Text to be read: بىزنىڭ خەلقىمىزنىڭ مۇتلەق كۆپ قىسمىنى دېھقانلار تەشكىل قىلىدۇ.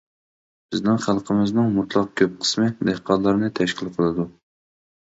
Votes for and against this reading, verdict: 0, 2, rejected